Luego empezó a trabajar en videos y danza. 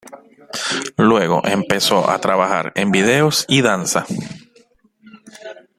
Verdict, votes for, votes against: accepted, 2, 0